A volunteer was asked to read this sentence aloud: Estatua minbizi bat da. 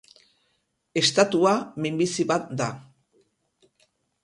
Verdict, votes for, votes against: rejected, 2, 2